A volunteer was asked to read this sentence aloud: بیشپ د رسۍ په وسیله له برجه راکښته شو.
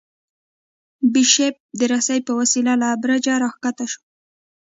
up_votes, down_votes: 2, 0